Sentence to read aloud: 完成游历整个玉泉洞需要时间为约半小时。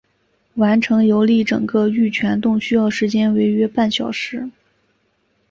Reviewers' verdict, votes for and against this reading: accepted, 2, 0